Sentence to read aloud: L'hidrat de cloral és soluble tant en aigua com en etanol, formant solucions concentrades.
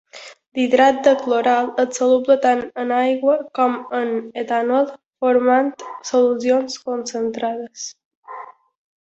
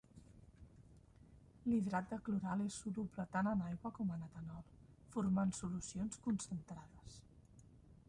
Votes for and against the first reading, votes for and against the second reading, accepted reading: 2, 0, 1, 2, first